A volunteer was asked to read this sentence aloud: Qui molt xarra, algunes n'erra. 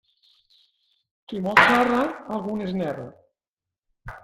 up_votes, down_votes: 0, 2